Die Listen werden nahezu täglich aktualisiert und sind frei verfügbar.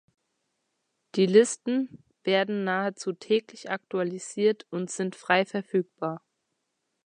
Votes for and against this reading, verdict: 2, 0, accepted